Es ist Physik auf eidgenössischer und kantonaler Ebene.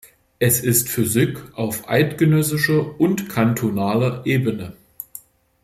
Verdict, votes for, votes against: accepted, 2, 0